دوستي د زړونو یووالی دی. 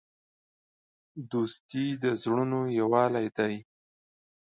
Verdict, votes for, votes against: accepted, 4, 0